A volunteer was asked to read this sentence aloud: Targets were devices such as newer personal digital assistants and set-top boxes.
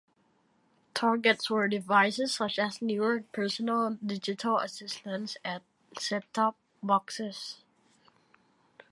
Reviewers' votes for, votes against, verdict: 2, 0, accepted